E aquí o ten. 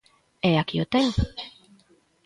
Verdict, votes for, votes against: accepted, 2, 0